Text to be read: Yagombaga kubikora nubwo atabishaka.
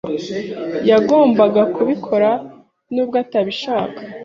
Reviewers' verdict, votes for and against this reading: accepted, 3, 0